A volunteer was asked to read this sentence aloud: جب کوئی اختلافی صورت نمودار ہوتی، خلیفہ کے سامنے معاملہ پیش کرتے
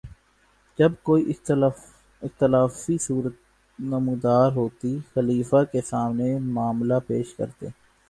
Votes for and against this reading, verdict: 2, 2, rejected